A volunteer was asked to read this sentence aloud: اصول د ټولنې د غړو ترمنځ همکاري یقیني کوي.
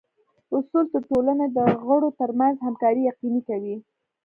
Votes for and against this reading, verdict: 1, 2, rejected